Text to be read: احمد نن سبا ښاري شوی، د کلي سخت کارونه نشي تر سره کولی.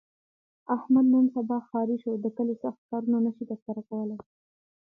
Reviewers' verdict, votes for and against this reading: rejected, 0, 2